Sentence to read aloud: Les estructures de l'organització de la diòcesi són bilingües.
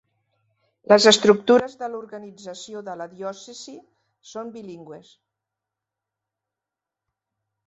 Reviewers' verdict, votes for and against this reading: accepted, 2, 0